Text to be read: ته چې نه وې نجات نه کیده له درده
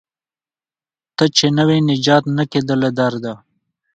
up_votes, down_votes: 1, 2